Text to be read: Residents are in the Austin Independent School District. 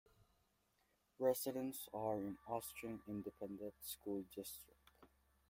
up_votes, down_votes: 0, 2